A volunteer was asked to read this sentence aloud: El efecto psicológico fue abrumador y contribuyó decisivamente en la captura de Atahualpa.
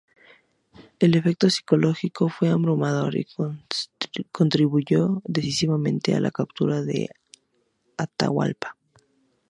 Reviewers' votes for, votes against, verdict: 0, 2, rejected